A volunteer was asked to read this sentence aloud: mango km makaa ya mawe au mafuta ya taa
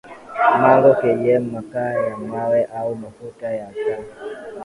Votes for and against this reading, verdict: 2, 0, accepted